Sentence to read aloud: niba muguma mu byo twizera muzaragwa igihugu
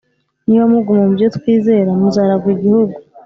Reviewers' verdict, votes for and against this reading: accepted, 3, 0